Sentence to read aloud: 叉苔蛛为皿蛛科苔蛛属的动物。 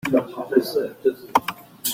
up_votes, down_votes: 0, 2